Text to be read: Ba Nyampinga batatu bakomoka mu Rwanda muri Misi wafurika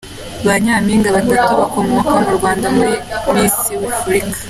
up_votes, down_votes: 2, 0